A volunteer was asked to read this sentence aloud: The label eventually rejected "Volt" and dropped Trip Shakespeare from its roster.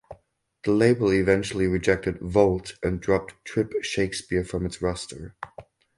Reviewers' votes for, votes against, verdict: 4, 0, accepted